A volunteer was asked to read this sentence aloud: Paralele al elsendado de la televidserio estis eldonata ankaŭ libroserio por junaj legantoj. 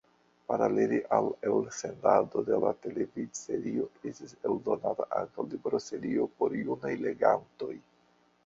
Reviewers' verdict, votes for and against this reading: rejected, 0, 2